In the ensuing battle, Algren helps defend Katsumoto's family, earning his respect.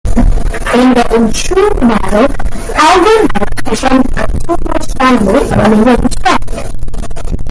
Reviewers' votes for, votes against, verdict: 0, 2, rejected